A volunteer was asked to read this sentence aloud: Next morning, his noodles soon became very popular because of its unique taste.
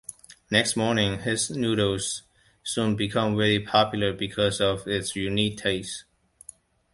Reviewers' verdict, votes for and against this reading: rejected, 0, 2